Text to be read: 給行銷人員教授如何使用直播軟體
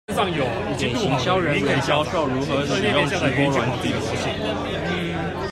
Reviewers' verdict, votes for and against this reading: rejected, 0, 2